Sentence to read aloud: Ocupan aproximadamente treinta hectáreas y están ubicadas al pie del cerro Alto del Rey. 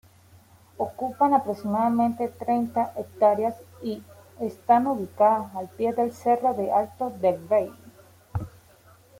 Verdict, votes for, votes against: accepted, 2, 0